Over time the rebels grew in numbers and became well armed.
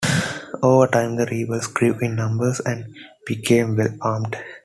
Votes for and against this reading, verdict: 2, 0, accepted